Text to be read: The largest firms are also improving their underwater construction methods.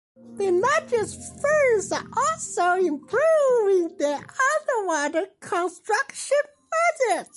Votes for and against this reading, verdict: 2, 1, accepted